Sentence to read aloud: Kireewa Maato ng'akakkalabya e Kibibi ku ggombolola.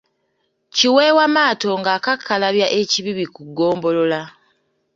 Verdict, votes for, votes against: rejected, 1, 2